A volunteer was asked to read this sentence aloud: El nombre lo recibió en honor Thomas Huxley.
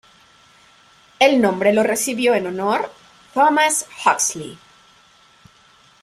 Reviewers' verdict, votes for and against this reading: accepted, 2, 0